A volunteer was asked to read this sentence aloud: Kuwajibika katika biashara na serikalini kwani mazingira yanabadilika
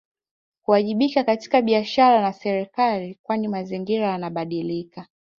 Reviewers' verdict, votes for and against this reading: accepted, 2, 1